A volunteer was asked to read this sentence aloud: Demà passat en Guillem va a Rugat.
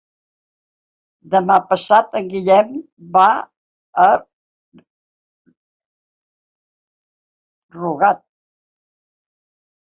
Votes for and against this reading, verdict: 4, 2, accepted